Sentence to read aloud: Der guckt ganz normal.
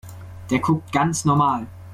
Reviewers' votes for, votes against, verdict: 2, 0, accepted